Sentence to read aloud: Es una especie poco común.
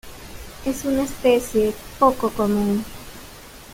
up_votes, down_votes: 2, 1